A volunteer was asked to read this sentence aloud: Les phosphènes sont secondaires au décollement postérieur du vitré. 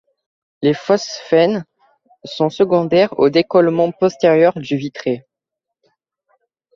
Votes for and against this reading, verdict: 2, 0, accepted